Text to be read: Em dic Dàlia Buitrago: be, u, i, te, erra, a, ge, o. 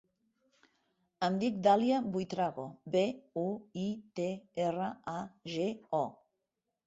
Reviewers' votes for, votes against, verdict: 3, 0, accepted